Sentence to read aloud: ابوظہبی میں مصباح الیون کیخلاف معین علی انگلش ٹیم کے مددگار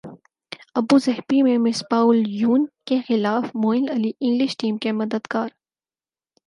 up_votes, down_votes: 4, 0